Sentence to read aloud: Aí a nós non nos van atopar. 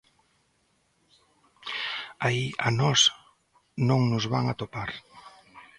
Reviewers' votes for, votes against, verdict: 2, 0, accepted